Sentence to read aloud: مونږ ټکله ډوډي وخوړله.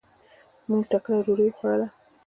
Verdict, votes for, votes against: rejected, 1, 2